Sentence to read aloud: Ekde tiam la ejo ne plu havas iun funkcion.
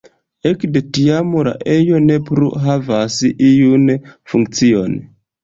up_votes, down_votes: 2, 0